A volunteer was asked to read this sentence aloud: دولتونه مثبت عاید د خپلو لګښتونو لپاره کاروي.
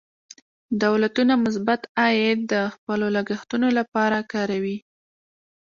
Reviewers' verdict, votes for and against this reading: rejected, 0, 2